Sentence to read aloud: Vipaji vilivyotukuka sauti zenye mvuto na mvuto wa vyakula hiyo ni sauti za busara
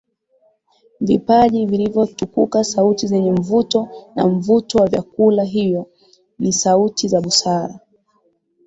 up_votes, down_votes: 2, 3